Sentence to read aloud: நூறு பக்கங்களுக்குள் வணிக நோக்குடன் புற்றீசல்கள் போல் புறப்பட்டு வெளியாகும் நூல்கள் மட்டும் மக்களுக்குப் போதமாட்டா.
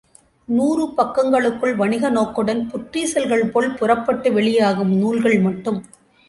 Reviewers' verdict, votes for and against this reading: rejected, 0, 2